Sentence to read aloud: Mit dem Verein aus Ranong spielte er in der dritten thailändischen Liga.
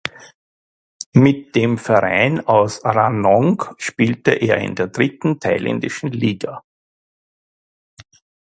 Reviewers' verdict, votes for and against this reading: accepted, 2, 0